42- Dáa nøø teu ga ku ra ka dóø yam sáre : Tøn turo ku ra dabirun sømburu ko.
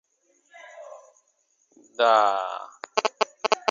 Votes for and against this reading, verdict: 0, 2, rejected